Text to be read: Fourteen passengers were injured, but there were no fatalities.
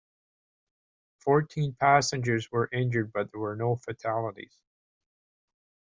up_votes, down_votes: 3, 0